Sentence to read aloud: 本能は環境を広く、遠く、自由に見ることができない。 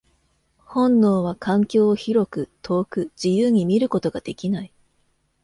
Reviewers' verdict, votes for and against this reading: accepted, 2, 0